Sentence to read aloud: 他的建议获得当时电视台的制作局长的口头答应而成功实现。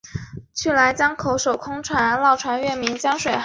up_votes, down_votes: 0, 2